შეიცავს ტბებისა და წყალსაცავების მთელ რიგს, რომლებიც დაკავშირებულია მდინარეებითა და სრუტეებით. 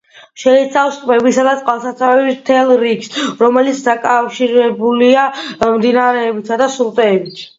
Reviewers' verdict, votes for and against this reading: accepted, 2, 0